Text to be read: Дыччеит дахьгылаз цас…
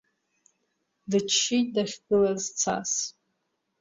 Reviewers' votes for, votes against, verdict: 2, 0, accepted